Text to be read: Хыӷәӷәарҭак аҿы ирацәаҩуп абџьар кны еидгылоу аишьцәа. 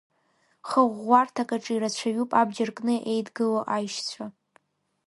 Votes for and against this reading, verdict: 2, 0, accepted